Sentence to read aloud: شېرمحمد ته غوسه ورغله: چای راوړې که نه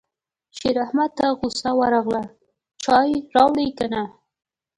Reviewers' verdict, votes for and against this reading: rejected, 0, 2